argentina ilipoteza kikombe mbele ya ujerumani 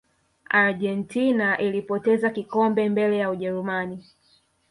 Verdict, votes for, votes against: rejected, 1, 2